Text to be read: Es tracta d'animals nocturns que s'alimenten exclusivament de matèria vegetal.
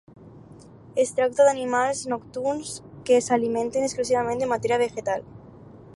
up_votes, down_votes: 2, 4